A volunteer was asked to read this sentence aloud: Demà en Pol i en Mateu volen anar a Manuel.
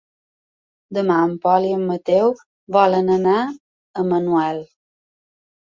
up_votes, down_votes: 2, 0